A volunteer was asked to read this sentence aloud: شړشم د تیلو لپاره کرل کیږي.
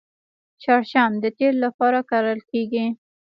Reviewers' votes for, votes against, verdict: 1, 2, rejected